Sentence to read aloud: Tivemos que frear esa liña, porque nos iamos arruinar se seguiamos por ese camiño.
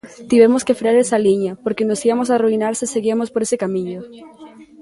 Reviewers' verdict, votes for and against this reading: rejected, 1, 2